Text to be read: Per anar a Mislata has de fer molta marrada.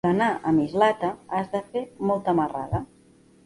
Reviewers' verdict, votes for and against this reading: rejected, 0, 2